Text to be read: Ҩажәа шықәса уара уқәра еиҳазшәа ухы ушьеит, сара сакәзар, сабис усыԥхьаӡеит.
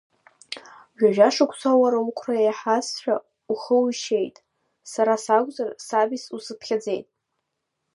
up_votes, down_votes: 0, 2